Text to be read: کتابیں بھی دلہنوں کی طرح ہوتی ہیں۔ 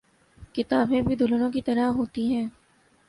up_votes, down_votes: 2, 1